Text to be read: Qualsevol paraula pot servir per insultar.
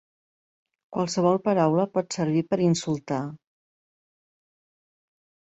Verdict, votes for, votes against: accepted, 3, 0